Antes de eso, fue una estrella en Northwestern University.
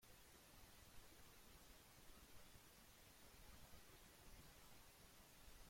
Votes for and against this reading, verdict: 0, 2, rejected